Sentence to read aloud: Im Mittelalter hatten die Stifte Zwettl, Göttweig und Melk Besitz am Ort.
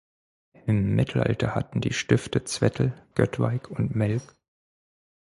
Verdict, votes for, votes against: rejected, 0, 4